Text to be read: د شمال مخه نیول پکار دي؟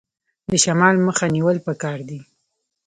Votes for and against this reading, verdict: 2, 0, accepted